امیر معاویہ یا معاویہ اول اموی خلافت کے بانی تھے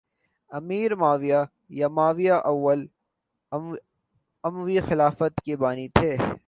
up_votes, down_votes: 2, 0